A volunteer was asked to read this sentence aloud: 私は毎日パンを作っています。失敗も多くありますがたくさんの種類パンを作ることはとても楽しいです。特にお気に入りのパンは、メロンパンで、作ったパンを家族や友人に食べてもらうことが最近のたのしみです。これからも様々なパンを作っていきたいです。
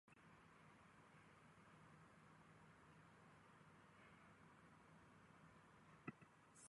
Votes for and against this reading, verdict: 0, 2, rejected